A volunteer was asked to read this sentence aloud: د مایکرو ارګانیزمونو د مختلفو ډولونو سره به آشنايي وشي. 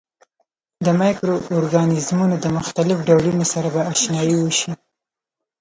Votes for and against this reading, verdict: 2, 3, rejected